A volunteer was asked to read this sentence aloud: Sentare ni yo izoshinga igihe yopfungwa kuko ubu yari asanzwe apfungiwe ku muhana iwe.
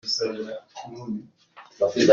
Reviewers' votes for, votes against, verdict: 0, 2, rejected